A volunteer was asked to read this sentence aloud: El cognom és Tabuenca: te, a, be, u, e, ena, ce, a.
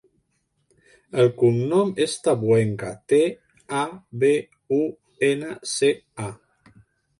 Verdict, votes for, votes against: rejected, 1, 4